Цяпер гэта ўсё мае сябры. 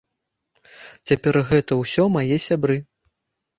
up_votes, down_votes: 2, 1